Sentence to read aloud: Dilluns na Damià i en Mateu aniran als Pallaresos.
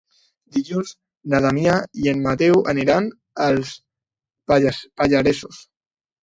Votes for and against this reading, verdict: 1, 3, rejected